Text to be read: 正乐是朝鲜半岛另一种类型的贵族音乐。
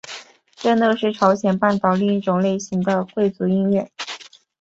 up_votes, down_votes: 2, 0